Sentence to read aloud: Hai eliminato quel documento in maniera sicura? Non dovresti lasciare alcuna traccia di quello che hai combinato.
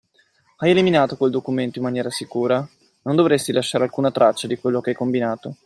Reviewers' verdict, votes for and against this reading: accepted, 2, 0